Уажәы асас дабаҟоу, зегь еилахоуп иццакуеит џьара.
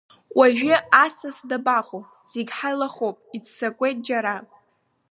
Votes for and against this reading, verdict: 0, 2, rejected